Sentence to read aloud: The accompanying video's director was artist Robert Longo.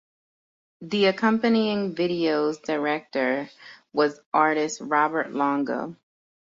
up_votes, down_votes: 1, 2